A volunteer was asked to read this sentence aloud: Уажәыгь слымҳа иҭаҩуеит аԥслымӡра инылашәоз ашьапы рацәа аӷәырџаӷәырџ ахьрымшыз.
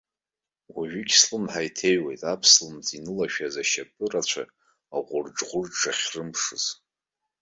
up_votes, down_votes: 1, 2